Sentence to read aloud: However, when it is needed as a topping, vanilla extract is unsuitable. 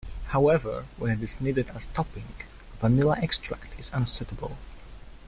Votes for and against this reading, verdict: 1, 2, rejected